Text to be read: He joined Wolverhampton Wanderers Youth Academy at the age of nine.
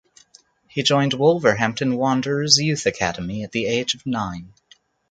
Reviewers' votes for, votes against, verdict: 2, 2, rejected